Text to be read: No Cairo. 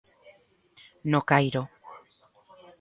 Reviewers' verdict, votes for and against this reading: accepted, 2, 0